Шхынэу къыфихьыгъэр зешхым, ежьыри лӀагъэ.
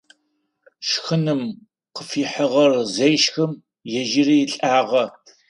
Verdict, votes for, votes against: rejected, 0, 4